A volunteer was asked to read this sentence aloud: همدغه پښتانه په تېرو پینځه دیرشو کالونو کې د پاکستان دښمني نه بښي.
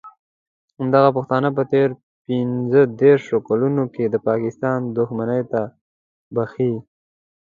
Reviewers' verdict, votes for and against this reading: accepted, 2, 0